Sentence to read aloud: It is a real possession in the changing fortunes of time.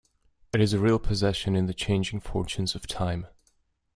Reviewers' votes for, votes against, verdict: 2, 0, accepted